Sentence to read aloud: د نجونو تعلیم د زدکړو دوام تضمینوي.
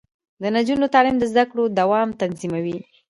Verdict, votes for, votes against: accepted, 2, 0